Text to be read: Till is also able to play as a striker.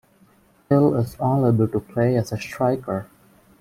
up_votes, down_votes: 1, 2